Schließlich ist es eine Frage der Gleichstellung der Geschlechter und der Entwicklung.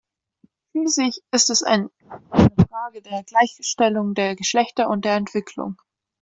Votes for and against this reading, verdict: 0, 2, rejected